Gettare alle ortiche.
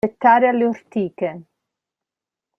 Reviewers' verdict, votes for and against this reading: rejected, 1, 2